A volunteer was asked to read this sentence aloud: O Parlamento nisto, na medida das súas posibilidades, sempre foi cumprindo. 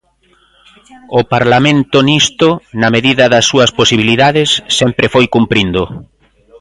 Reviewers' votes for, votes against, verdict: 3, 0, accepted